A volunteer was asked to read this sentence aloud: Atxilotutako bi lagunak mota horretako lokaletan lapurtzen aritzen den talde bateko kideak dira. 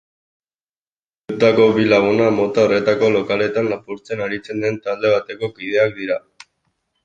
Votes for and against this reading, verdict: 0, 2, rejected